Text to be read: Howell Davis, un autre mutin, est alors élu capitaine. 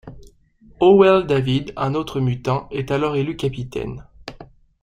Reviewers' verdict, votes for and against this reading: rejected, 0, 2